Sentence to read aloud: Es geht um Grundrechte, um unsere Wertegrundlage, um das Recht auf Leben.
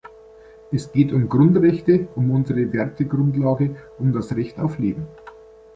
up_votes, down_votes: 2, 0